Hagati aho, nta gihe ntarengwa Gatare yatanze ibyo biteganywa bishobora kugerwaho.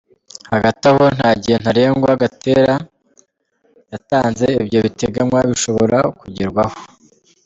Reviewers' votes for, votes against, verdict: 2, 1, accepted